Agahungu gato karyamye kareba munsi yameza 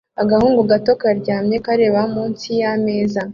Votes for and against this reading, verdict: 2, 0, accepted